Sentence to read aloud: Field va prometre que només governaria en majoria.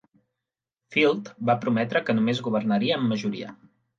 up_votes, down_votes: 3, 0